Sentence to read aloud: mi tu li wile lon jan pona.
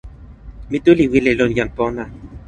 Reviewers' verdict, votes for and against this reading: accepted, 2, 0